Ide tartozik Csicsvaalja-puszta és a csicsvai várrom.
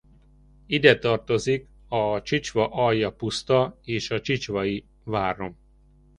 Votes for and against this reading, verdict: 0, 2, rejected